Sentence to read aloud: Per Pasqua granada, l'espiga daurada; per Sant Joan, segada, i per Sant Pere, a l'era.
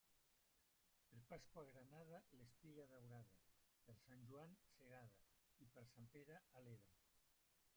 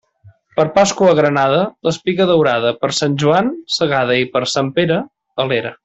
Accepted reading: second